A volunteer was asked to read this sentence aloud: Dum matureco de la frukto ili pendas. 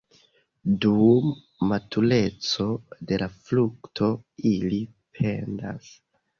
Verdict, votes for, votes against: accepted, 2, 0